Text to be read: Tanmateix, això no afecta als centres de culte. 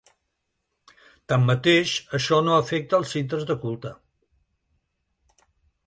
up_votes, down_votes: 2, 0